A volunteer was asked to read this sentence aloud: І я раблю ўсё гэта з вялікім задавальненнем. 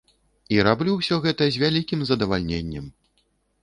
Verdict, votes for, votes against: rejected, 1, 2